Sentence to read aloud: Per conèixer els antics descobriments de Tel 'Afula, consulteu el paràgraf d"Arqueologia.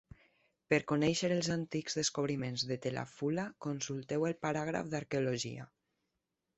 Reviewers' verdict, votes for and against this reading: accepted, 2, 0